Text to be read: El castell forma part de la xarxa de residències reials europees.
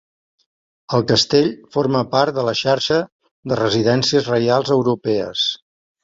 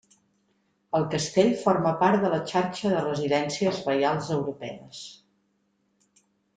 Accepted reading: first